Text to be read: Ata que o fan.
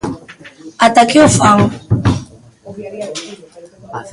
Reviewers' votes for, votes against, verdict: 2, 3, rejected